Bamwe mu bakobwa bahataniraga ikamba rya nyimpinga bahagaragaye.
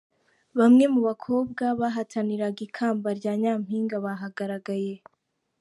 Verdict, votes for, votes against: accepted, 2, 0